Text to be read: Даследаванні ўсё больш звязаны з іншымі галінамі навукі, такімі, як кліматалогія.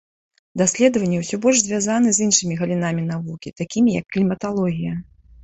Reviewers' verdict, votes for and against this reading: rejected, 1, 2